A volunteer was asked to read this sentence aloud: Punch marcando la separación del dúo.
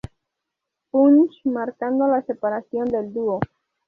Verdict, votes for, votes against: accepted, 2, 0